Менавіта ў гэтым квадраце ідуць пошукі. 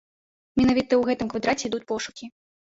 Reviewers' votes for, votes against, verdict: 2, 0, accepted